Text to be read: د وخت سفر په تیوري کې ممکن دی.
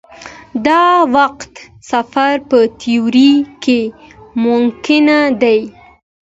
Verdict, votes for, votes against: accepted, 2, 0